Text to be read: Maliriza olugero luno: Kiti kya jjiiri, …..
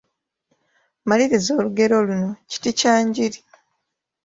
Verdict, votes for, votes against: rejected, 0, 2